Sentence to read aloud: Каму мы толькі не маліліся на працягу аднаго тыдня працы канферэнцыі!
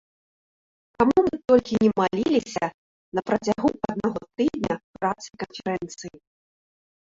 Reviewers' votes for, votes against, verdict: 0, 2, rejected